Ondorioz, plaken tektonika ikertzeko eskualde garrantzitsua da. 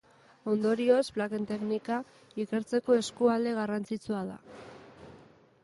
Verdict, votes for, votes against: rejected, 0, 2